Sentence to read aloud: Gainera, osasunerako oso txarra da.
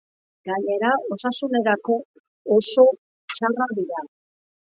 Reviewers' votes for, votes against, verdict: 0, 2, rejected